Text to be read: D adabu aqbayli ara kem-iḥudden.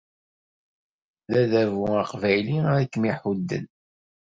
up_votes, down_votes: 2, 0